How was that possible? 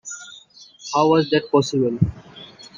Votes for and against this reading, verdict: 2, 0, accepted